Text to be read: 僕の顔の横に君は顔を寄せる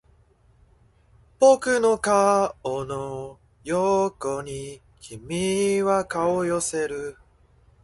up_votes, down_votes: 2, 1